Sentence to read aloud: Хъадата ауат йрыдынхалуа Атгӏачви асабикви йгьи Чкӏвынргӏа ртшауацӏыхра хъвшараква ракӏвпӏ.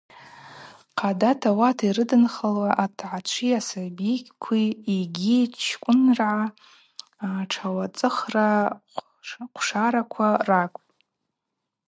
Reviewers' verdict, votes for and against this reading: accepted, 2, 0